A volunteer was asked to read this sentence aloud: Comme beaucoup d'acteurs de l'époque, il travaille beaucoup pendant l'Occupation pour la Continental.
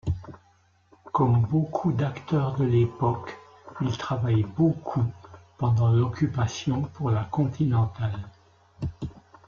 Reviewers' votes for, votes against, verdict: 0, 2, rejected